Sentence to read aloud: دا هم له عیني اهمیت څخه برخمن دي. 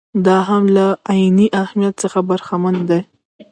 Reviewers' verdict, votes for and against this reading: rejected, 0, 2